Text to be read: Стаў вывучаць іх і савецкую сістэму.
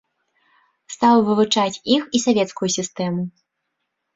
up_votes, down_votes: 2, 0